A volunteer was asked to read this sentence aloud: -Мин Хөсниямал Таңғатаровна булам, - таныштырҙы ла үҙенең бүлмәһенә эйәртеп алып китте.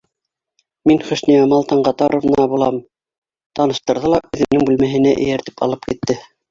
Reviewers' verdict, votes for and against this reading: rejected, 1, 2